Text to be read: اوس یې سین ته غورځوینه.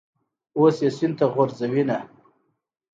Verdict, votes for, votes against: accepted, 2, 0